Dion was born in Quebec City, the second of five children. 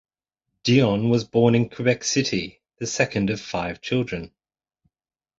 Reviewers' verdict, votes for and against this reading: accepted, 2, 0